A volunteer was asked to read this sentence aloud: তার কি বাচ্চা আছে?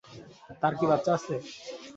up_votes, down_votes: 0, 2